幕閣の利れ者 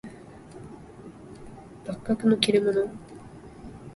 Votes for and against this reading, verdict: 2, 0, accepted